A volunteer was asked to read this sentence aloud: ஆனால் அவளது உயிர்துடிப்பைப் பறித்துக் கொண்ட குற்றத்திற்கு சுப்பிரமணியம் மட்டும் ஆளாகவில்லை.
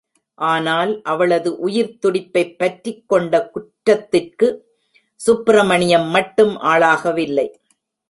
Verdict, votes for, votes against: rejected, 0, 2